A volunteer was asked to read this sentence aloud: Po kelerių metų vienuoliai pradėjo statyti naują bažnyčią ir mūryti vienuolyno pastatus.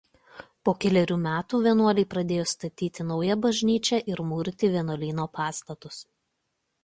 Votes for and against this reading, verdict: 2, 0, accepted